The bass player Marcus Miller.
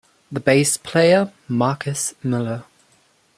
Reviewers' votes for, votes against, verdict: 2, 0, accepted